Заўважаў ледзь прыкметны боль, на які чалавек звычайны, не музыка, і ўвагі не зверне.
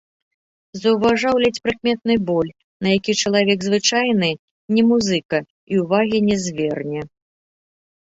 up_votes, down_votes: 1, 2